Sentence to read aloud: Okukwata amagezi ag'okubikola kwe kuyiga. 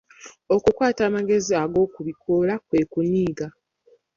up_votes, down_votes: 0, 2